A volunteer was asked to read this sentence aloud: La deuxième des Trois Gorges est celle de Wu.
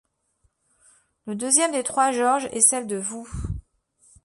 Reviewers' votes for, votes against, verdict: 1, 2, rejected